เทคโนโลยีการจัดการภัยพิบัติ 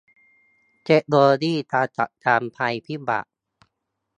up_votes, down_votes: 2, 0